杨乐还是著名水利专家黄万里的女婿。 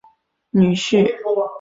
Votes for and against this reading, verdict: 0, 3, rejected